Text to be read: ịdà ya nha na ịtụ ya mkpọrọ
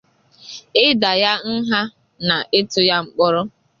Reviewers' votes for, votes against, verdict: 2, 0, accepted